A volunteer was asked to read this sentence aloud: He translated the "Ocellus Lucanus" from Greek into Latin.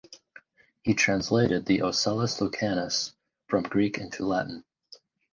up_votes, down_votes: 4, 0